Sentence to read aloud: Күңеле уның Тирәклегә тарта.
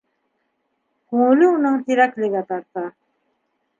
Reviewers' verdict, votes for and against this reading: accepted, 2, 0